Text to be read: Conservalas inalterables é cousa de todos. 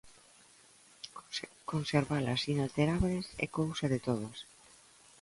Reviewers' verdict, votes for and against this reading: rejected, 1, 2